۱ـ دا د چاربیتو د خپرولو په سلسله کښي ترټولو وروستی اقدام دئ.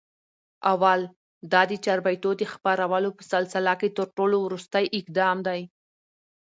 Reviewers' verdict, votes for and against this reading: rejected, 0, 2